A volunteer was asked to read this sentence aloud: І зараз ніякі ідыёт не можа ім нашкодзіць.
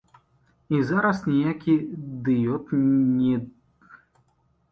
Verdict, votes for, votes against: rejected, 0, 2